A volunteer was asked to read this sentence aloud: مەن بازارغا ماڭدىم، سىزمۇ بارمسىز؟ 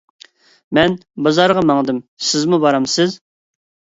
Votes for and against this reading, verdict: 3, 0, accepted